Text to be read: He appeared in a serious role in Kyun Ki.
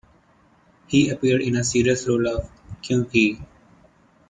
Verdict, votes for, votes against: accepted, 2, 0